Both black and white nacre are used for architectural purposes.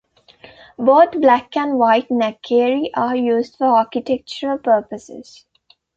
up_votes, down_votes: 1, 2